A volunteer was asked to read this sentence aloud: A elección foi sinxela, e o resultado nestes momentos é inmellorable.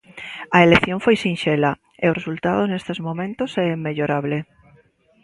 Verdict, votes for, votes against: accepted, 2, 0